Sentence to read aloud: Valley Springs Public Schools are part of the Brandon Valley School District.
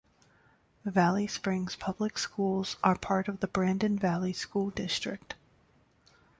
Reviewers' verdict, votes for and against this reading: accepted, 2, 0